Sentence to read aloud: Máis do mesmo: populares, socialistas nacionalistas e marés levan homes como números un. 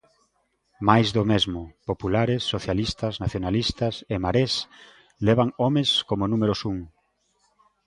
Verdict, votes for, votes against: accepted, 2, 0